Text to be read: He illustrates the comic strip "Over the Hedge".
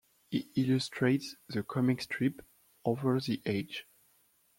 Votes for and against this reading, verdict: 1, 2, rejected